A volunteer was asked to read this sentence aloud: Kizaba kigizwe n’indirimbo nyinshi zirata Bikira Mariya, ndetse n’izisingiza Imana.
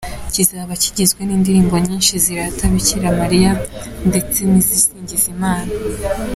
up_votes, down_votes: 2, 1